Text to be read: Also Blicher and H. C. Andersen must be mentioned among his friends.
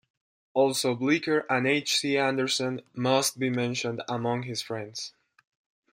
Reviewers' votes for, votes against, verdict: 2, 0, accepted